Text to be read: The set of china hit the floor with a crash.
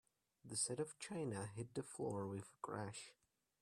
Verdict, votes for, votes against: rejected, 1, 2